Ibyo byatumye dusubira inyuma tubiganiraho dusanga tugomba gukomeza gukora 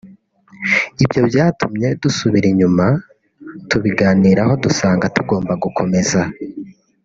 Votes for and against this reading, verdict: 1, 3, rejected